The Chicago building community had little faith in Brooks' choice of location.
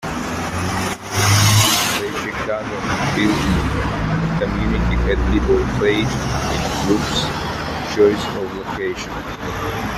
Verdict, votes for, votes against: rejected, 1, 2